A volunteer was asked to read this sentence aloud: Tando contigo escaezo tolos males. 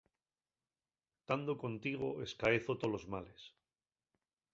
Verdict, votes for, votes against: accepted, 2, 0